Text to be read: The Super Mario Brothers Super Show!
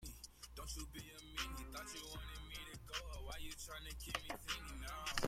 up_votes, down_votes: 0, 2